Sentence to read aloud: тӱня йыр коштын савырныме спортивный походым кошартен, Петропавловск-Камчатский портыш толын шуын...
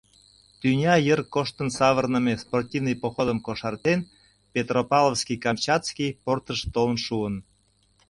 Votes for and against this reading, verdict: 0, 2, rejected